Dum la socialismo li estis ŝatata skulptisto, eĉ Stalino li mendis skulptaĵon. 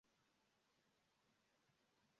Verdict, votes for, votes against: rejected, 0, 2